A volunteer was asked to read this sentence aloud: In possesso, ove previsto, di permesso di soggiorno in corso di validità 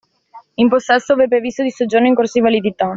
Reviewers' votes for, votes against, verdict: 0, 2, rejected